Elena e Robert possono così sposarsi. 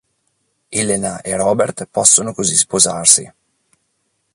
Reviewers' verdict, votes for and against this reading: accepted, 2, 0